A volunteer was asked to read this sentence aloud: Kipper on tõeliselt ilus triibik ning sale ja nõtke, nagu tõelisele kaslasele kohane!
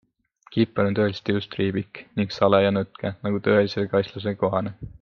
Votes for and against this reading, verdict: 3, 0, accepted